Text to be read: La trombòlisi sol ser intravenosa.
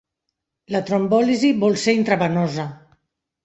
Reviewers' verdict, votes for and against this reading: rejected, 1, 2